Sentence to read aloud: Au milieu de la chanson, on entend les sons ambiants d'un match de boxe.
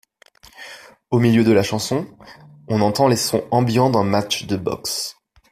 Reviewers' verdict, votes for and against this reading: accepted, 2, 0